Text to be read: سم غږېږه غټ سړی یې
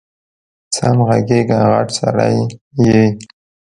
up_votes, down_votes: 2, 0